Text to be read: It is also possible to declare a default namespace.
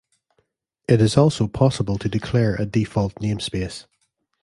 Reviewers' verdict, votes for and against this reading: rejected, 1, 2